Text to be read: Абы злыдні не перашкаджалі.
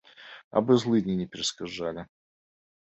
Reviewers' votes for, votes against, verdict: 2, 1, accepted